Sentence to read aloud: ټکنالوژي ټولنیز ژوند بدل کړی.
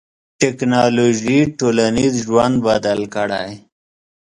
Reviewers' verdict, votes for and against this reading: accepted, 2, 0